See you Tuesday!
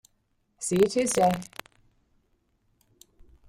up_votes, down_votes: 1, 2